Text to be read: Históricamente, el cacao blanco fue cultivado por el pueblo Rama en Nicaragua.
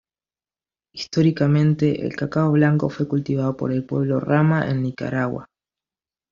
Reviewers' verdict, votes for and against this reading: accepted, 2, 1